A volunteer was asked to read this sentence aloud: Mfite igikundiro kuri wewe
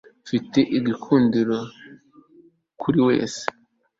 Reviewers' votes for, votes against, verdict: 0, 2, rejected